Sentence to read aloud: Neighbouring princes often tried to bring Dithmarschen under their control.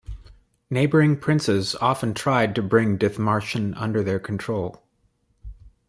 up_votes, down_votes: 2, 0